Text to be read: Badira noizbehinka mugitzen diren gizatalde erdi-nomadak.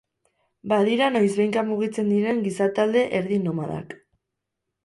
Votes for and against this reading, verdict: 2, 2, rejected